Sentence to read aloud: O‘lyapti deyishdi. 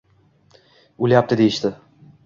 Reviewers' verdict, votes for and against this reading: accepted, 2, 0